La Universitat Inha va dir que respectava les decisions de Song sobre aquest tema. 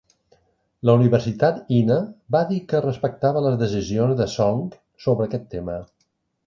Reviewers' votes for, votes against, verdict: 1, 2, rejected